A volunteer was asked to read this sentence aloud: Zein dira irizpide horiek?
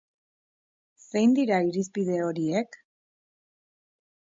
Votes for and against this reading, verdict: 2, 0, accepted